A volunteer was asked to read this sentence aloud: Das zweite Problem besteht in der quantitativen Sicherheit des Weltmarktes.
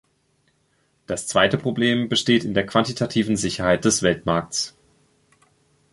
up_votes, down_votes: 1, 3